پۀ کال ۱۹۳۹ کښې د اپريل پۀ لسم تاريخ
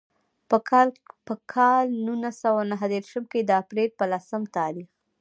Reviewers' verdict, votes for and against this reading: rejected, 0, 2